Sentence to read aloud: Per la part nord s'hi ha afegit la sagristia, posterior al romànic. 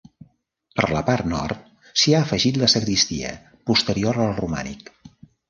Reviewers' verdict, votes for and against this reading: accepted, 3, 0